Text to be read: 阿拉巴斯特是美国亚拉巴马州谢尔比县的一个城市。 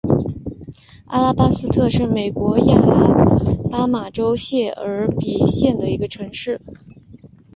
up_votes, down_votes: 4, 0